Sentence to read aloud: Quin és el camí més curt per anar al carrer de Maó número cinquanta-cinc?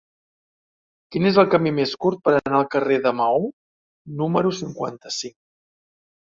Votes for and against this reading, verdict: 1, 2, rejected